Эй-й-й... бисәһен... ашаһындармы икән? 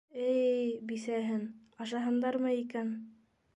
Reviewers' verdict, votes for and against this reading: accepted, 2, 0